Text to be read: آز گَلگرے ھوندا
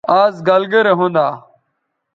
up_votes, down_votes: 2, 0